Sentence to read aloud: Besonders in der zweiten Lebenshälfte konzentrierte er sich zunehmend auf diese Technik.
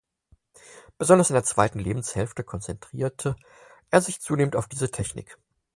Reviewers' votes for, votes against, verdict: 4, 0, accepted